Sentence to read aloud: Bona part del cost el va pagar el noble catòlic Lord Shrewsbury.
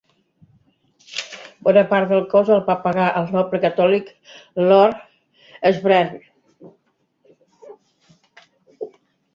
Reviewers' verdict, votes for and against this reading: rejected, 0, 2